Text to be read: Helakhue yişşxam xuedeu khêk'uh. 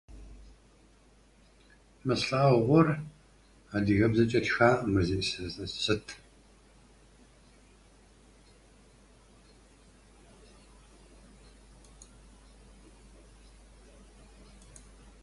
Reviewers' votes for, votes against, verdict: 0, 2, rejected